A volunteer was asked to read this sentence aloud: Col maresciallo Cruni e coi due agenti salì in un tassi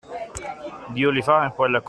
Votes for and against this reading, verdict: 0, 2, rejected